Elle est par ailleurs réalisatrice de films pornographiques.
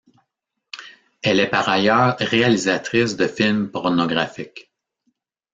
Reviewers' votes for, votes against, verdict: 2, 1, accepted